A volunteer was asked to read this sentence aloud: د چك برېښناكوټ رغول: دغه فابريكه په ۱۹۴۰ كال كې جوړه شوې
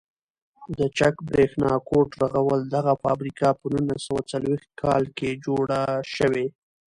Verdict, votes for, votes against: rejected, 0, 2